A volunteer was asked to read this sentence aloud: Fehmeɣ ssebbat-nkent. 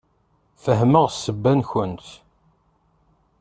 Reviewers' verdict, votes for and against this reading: rejected, 0, 2